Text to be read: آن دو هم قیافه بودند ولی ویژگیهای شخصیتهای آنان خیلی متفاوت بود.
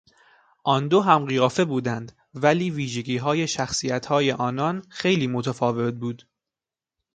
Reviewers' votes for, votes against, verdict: 2, 0, accepted